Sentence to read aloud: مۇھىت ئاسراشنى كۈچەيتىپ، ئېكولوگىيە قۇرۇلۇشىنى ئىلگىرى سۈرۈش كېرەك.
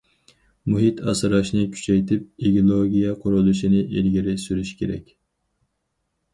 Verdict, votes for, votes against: rejected, 2, 4